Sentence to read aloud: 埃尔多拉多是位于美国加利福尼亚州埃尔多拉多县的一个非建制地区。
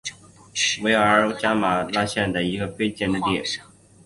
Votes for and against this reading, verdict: 0, 2, rejected